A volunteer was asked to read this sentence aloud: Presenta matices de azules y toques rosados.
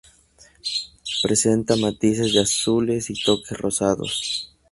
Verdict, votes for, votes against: accepted, 2, 0